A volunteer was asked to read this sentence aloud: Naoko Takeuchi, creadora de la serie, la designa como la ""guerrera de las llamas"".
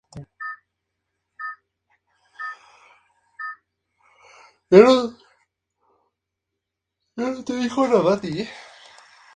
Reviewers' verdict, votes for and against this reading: rejected, 0, 2